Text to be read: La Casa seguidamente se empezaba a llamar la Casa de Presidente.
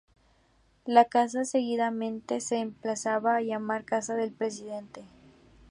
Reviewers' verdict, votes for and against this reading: rejected, 0, 2